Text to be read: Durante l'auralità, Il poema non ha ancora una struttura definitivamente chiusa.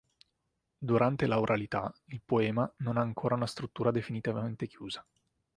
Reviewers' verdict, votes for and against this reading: accepted, 2, 0